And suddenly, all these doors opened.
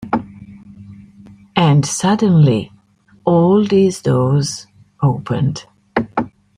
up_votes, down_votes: 2, 0